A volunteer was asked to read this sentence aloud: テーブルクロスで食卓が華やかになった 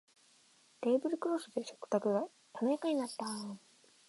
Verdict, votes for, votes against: accepted, 3, 0